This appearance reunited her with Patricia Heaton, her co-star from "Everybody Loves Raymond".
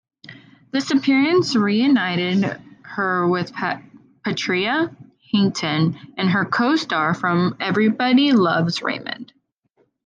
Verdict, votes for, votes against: rejected, 0, 2